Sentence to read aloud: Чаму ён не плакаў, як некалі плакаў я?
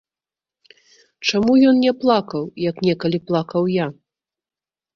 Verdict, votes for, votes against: rejected, 1, 2